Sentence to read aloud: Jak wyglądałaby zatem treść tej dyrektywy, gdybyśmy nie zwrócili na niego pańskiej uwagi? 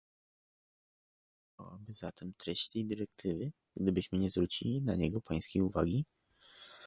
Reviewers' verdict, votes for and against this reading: rejected, 0, 2